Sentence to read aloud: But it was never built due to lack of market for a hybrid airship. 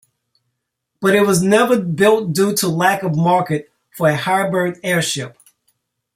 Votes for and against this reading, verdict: 2, 1, accepted